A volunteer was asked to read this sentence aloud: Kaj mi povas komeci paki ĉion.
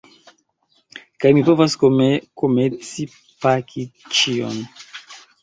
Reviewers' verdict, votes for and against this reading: rejected, 0, 2